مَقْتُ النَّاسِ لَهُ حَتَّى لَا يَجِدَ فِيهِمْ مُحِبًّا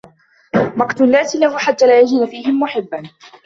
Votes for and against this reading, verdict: 2, 0, accepted